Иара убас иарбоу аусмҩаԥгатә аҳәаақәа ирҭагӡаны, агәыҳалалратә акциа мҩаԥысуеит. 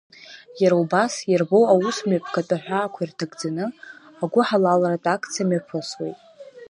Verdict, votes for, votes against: accepted, 2, 0